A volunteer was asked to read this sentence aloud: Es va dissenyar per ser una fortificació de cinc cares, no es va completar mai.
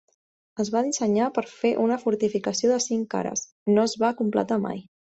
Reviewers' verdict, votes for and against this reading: rejected, 0, 2